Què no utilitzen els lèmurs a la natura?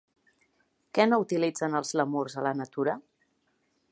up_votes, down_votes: 0, 2